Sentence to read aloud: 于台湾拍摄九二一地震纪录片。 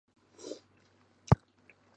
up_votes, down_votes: 0, 2